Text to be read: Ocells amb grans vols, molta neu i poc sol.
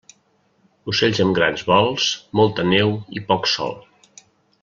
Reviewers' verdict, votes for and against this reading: accepted, 2, 1